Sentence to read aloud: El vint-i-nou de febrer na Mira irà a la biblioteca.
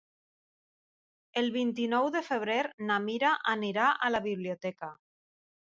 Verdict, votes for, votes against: rejected, 2, 3